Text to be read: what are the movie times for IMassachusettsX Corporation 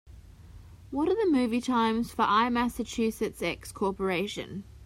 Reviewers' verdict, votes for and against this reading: accepted, 2, 0